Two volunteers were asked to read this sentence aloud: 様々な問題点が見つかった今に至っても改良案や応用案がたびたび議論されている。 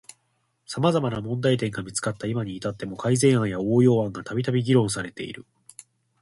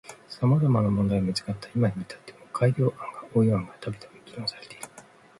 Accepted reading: second